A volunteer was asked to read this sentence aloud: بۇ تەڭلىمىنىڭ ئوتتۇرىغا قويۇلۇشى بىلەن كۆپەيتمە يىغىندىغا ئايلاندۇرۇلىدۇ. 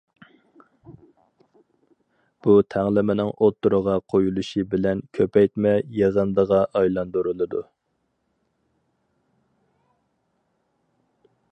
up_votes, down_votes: 4, 0